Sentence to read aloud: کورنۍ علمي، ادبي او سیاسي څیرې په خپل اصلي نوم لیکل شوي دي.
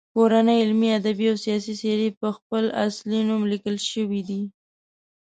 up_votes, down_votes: 2, 0